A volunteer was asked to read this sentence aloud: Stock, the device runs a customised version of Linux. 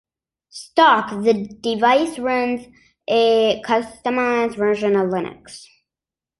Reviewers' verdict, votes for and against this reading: accepted, 2, 0